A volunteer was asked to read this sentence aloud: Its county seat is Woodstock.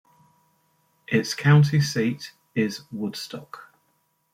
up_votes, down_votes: 0, 2